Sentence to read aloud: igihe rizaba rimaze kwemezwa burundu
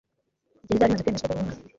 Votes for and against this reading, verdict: 1, 2, rejected